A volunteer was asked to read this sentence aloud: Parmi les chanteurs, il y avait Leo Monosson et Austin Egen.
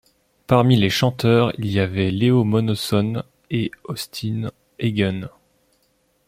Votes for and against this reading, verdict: 2, 0, accepted